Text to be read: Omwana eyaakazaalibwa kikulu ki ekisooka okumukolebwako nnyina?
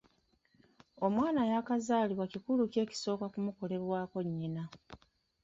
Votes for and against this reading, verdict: 1, 2, rejected